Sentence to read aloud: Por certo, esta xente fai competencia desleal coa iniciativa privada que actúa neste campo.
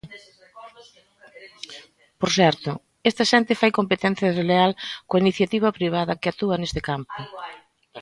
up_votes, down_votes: 2, 1